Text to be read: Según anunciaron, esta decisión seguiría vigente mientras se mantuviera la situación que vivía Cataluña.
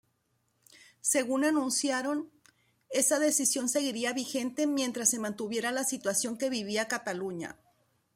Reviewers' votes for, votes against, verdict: 1, 2, rejected